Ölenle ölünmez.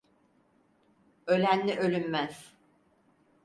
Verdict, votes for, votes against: accepted, 4, 0